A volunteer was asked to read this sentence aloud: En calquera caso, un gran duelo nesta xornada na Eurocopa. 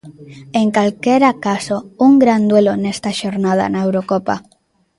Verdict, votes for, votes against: accepted, 2, 0